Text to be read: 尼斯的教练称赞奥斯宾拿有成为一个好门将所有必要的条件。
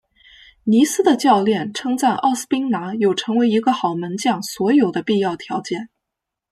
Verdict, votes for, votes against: rejected, 1, 2